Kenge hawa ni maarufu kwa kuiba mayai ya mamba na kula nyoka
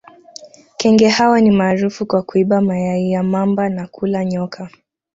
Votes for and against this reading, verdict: 2, 0, accepted